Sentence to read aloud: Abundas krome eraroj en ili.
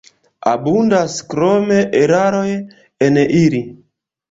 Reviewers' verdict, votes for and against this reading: rejected, 0, 2